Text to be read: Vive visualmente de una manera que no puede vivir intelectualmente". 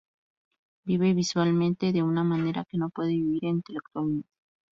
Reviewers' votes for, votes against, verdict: 0, 2, rejected